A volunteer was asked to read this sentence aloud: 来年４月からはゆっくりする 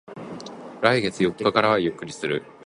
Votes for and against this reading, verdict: 0, 2, rejected